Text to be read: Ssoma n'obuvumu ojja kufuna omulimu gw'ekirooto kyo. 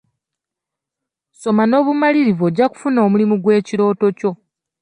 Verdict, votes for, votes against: rejected, 1, 2